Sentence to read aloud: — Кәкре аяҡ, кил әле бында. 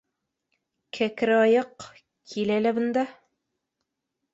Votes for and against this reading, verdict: 2, 0, accepted